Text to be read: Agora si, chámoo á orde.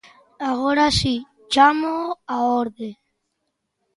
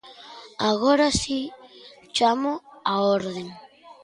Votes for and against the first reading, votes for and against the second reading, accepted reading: 2, 0, 0, 2, first